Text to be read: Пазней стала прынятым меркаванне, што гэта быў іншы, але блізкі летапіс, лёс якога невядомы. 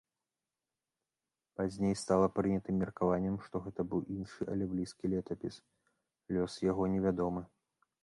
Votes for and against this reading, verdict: 0, 2, rejected